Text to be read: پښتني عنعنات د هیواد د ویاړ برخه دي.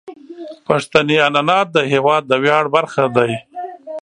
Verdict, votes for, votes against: rejected, 1, 2